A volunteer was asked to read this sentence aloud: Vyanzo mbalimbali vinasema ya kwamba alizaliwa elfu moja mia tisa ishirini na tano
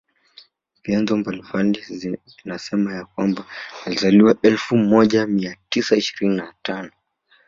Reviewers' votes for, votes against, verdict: 0, 2, rejected